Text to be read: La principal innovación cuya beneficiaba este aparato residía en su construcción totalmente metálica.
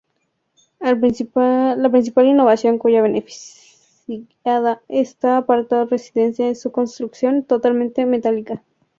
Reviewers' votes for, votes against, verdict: 0, 4, rejected